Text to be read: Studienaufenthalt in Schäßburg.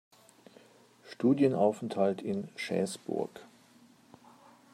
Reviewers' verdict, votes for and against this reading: accepted, 2, 0